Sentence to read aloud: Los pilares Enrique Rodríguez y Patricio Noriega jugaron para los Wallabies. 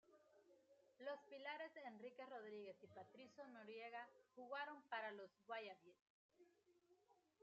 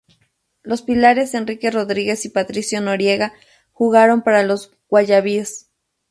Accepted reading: second